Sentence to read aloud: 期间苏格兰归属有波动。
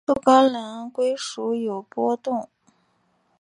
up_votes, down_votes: 2, 3